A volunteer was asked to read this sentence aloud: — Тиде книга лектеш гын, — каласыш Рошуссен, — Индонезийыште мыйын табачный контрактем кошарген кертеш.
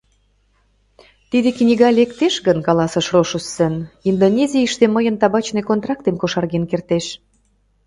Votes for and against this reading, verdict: 2, 0, accepted